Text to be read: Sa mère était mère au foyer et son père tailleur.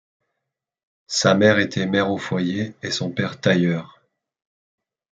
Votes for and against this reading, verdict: 2, 0, accepted